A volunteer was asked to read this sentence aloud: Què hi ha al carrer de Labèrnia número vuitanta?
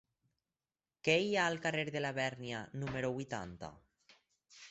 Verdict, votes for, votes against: accepted, 4, 0